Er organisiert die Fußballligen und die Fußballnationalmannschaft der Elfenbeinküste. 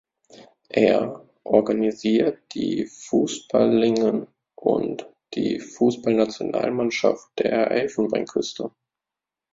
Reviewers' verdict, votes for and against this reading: rejected, 0, 2